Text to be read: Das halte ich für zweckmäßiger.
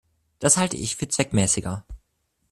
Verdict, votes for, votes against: accepted, 2, 0